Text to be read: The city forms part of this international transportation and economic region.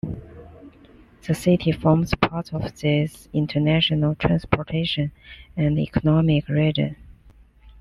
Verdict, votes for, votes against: accepted, 2, 0